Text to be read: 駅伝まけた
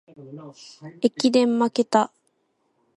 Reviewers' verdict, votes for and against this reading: accepted, 2, 0